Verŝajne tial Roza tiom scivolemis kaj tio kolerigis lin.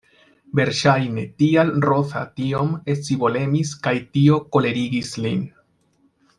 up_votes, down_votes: 2, 0